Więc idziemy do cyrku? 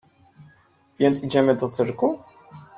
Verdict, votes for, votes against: accepted, 2, 0